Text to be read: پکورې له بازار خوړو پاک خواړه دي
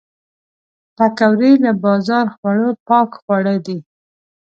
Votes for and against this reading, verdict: 2, 0, accepted